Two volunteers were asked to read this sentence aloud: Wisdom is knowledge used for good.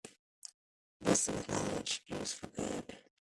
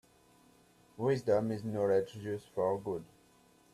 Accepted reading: second